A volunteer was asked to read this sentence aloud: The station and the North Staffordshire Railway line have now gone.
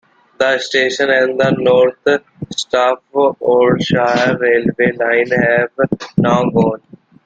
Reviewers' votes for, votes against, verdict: 0, 2, rejected